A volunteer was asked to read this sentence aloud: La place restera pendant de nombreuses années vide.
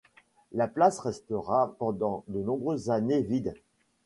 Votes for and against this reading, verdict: 2, 0, accepted